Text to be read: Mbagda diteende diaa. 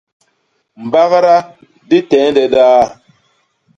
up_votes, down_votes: 0, 2